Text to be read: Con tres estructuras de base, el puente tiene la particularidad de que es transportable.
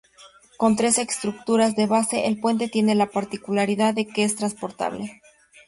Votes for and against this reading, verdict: 2, 0, accepted